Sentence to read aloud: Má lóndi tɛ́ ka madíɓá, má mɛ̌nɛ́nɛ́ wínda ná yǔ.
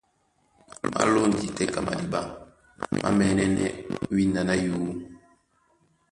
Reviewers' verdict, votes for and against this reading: rejected, 0, 2